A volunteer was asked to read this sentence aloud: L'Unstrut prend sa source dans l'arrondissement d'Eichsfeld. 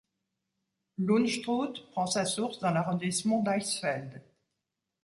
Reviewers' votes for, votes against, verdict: 1, 2, rejected